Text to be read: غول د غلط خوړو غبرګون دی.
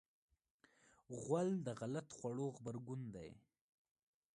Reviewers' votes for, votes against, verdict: 2, 1, accepted